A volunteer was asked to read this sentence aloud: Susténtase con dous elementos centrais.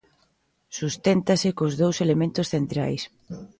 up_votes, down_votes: 2, 1